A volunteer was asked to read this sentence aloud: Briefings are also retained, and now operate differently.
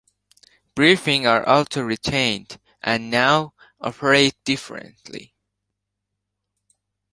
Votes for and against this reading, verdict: 0, 3, rejected